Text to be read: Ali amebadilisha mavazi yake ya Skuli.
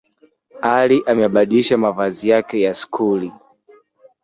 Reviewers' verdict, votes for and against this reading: rejected, 1, 2